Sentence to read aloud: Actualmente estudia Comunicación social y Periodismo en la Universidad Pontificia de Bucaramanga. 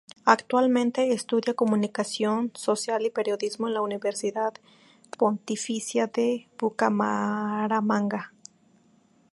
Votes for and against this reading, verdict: 2, 0, accepted